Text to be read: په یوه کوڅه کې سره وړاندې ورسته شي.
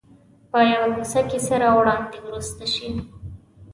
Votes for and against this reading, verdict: 2, 0, accepted